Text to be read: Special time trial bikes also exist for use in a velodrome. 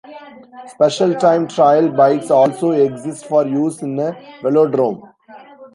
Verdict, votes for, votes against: rejected, 0, 2